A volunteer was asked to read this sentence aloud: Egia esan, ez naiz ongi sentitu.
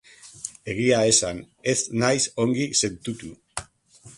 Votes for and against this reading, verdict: 2, 1, accepted